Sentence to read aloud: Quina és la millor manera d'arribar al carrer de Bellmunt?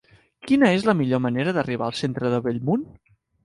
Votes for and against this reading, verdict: 1, 4, rejected